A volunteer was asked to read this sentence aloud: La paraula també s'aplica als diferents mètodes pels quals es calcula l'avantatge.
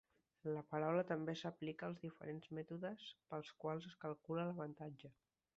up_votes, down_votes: 2, 1